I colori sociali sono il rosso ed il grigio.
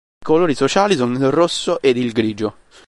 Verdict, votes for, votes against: accepted, 2, 1